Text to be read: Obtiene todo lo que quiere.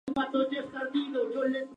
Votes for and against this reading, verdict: 0, 4, rejected